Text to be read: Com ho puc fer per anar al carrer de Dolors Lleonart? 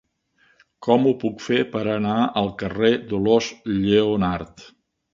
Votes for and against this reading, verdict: 0, 2, rejected